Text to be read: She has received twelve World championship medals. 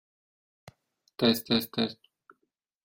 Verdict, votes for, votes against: rejected, 0, 2